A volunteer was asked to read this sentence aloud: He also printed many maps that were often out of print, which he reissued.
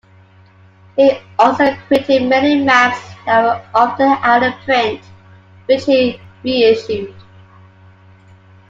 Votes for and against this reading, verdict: 2, 1, accepted